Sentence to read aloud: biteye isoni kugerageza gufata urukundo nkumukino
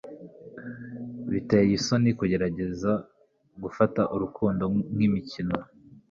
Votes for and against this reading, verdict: 2, 3, rejected